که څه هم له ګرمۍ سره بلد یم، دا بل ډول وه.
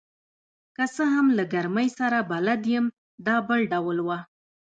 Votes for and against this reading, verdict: 2, 1, accepted